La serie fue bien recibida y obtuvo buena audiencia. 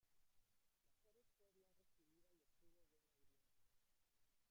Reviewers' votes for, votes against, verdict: 0, 2, rejected